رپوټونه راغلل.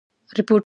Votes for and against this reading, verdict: 1, 2, rejected